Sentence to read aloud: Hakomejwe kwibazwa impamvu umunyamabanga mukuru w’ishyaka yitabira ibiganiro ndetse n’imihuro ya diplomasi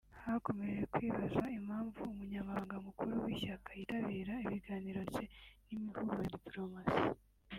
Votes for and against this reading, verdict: 3, 0, accepted